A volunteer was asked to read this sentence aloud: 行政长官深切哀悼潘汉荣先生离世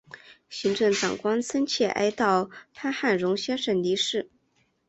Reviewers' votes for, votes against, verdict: 7, 0, accepted